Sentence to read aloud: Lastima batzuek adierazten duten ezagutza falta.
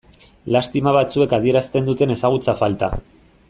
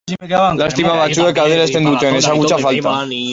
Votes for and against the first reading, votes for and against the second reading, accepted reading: 2, 0, 0, 2, first